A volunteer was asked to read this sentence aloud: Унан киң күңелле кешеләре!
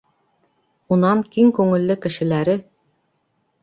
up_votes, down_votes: 2, 1